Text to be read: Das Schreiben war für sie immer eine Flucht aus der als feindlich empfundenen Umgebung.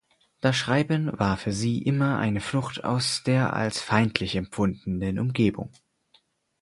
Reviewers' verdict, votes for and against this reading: accepted, 4, 0